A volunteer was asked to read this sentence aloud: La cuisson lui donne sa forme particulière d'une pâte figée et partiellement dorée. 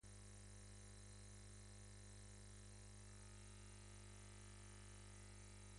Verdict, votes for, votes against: rejected, 0, 2